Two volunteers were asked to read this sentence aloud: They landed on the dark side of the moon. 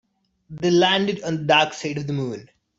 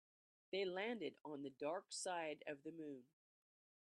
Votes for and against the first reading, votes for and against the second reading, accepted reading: 0, 2, 2, 0, second